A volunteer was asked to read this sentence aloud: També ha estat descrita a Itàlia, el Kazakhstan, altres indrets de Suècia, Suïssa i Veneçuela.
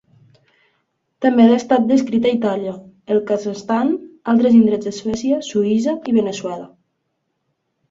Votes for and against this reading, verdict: 1, 2, rejected